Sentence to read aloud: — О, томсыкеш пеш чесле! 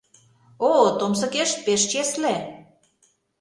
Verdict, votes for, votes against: accepted, 2, 0